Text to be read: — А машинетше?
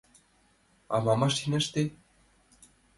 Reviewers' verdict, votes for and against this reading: rejected, 1, 3